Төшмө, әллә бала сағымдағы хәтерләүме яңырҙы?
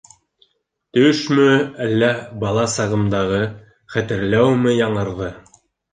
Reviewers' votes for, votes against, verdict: 2, 0, accepted